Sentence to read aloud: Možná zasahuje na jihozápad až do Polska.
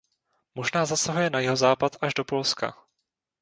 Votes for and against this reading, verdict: 2, 0, accepted